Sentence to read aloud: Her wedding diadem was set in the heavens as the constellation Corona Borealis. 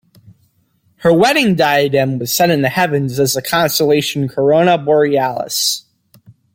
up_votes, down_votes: 2, 0